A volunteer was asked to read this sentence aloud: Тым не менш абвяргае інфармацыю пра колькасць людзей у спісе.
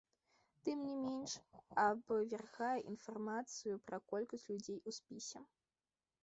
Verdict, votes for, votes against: rejected, 1, 2